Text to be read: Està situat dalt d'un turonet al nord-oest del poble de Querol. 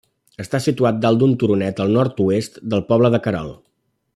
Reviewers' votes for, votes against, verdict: 2, 0, accepted